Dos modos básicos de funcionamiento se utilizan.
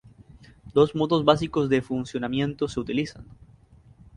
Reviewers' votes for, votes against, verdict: 2, 2, rejected